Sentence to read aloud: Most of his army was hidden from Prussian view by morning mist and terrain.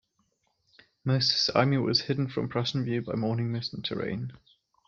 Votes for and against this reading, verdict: 2, 0, accepted